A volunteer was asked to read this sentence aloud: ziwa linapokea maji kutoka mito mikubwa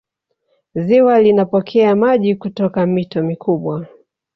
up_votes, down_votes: 0, 2